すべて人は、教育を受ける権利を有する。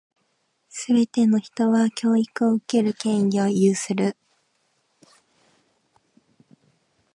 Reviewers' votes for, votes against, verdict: 0, 2, rejected